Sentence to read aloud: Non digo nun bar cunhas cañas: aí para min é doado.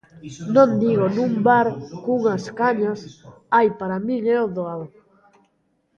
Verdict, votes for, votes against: rejected, 1, 2